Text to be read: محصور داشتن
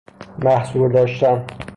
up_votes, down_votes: 3, 0